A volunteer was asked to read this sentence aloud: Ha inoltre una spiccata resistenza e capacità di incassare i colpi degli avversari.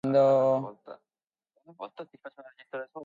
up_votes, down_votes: 0, 2